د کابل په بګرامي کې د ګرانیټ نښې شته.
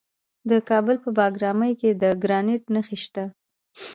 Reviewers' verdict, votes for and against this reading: accepted, 2, 0